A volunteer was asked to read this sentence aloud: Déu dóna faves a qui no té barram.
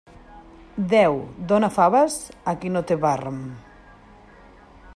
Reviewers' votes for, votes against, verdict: 0, 2, rejected